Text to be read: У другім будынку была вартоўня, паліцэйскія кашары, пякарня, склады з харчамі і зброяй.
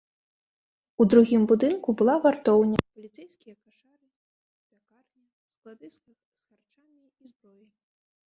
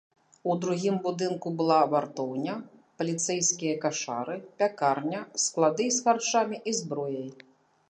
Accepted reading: second